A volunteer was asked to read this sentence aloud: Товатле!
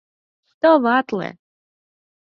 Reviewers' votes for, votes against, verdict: 4, 0, accepted